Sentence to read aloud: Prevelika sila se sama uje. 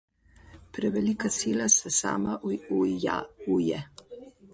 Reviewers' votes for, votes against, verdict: 0, 2, rejected